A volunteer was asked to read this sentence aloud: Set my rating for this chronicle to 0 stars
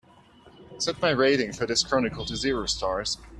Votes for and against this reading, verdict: 0, 2, rejected